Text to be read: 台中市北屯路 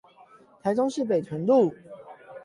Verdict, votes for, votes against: accepted, 8, 0